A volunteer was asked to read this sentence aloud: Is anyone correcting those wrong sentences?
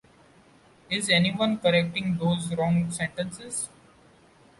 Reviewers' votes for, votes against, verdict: 2, 0, accepted